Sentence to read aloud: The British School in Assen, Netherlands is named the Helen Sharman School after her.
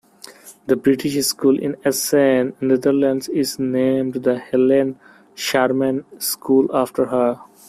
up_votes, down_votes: 2, 1